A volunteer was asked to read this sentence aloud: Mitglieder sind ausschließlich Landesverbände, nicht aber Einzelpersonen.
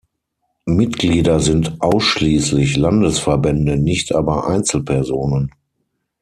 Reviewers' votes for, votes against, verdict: 6, 3, accepted